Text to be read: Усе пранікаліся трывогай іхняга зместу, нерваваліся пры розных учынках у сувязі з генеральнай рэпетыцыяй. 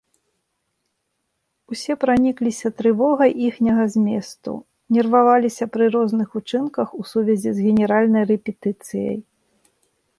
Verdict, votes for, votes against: rejected, 0, 2